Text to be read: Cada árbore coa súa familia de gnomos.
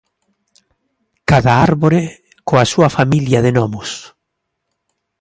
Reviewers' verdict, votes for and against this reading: accepted, 2, 0